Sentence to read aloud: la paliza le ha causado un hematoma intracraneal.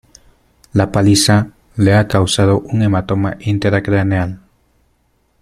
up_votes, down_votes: 1, 2